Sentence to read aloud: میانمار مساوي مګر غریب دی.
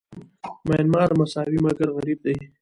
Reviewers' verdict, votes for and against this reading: rejected, 1, 2